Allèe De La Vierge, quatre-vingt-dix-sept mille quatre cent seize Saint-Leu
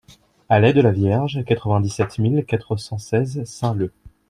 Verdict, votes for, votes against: accepted, 2, 0